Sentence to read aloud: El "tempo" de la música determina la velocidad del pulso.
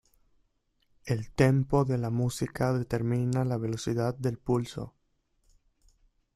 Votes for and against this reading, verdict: 0, 2, rejected